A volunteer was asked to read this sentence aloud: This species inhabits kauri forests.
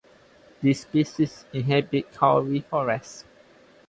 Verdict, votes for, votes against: accepted, 2, 0